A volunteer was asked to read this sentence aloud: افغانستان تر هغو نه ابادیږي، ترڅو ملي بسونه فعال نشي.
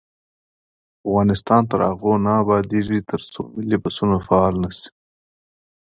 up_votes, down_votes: 2, 0